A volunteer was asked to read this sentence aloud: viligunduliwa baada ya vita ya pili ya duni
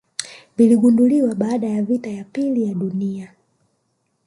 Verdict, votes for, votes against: accepted, 3, 2